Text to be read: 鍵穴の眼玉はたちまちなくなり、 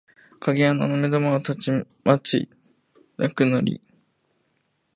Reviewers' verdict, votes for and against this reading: rejected, 0, 2